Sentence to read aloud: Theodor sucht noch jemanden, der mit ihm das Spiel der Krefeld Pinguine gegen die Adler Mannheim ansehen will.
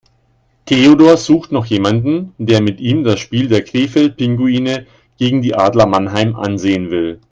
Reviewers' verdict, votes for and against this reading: accepted, 2, 0